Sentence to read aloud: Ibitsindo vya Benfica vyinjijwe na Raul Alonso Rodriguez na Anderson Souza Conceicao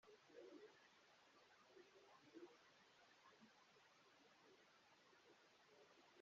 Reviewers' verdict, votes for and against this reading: rejected, 0, 2